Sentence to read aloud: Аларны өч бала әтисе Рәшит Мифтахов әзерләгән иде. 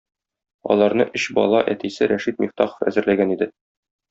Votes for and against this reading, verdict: 2, 0, accepted